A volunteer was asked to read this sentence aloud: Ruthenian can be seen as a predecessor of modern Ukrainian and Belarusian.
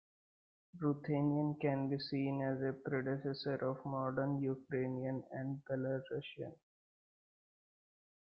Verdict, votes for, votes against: accepted, 3, 2